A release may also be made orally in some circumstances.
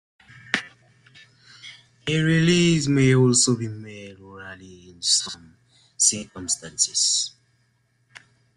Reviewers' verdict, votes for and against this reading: accepted, 2, 1